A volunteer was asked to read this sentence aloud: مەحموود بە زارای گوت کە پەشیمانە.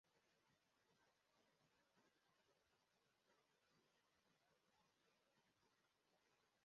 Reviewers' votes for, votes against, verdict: 0, 2, rejected